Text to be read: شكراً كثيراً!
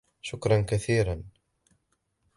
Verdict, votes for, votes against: accepted, 2, 0